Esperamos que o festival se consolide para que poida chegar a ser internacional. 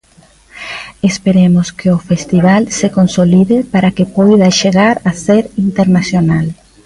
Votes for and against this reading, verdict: 0, 2, rejected